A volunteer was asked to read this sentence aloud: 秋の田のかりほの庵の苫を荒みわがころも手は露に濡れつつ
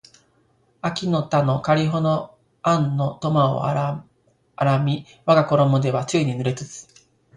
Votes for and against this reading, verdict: 0, 2, rejected